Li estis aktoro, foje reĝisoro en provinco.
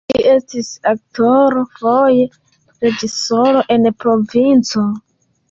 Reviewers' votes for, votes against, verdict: 2, 3, rejected